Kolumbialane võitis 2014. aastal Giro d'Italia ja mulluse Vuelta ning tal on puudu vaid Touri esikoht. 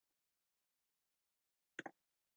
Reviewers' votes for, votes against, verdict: 0, 2, rejected